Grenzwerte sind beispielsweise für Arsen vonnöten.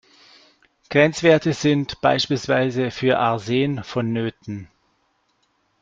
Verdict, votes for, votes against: accepted, 2, 0